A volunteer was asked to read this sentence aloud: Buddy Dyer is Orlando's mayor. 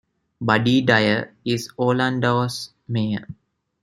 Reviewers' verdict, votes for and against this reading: rejected, 1, 2